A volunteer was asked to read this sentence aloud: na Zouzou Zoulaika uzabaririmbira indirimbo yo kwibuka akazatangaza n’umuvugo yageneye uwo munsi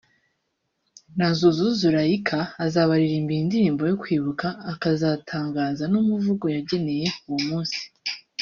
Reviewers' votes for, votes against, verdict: 0, 2, rejected